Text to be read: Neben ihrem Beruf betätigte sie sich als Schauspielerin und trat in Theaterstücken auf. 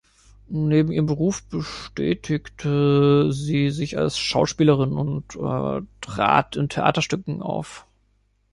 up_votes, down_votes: 0, 3